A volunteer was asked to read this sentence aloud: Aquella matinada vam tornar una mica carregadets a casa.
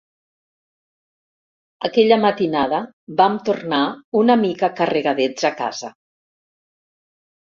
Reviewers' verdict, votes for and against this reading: accepted, 4, 0